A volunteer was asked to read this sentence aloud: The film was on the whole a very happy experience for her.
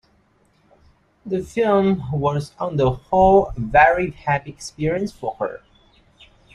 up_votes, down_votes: 2, 0